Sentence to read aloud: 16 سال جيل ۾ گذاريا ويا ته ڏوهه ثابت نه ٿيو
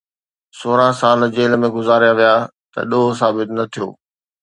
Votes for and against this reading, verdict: 0, 2, rejected